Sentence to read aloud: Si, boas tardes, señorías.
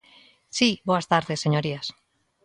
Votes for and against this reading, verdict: 2, 0, accepted